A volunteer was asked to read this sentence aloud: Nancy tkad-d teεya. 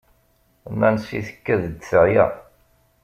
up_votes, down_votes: 2, 1